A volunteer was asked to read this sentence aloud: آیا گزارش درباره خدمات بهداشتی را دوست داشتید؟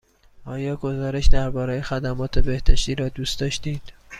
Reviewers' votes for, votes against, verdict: 2, 0, accepted